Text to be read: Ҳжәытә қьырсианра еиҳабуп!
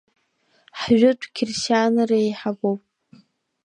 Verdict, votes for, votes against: rejected, 0, 2